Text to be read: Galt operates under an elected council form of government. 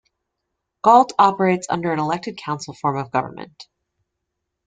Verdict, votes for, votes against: accepted, 2, 0